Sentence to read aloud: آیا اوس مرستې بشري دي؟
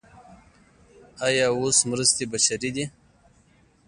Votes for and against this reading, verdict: 0, 2, rejected